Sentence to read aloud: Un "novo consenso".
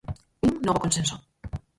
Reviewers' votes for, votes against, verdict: 0, 4, rejected